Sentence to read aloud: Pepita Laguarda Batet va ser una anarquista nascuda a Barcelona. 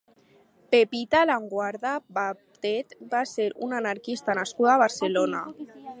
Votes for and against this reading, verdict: 6, 0, accepted